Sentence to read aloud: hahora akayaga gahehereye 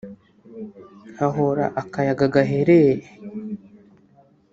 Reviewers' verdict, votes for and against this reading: rejected, 1, 2